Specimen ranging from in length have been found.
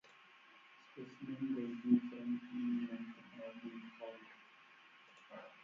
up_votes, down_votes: 0, 4